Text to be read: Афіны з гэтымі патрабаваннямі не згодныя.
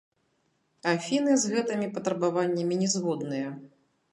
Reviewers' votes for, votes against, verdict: 0, 2, rejected